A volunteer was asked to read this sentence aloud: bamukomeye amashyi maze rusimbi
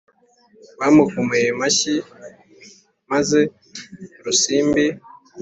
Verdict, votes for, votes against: accepted, 2, 0